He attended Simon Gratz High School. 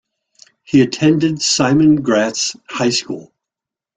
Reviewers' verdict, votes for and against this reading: accepted, 2, 0